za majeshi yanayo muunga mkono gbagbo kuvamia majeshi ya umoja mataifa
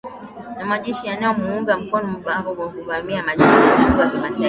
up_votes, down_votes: 0, 2